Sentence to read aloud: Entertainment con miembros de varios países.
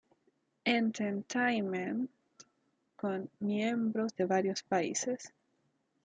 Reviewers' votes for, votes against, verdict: 1, 2, rejected